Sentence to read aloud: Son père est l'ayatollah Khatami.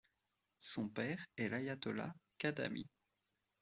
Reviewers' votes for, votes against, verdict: 2, 0, accepted